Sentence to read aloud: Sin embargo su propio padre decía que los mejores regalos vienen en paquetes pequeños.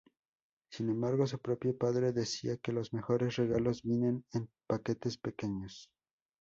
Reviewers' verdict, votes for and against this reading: accepted, 2, 0